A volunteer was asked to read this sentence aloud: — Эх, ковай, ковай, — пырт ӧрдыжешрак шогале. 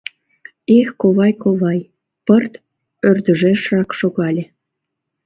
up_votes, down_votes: 1, 2